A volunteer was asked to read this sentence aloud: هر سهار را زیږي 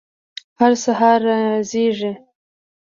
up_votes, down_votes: 2, 0